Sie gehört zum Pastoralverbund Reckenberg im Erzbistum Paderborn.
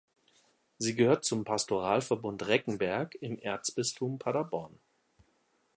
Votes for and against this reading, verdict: 2, 0, accepted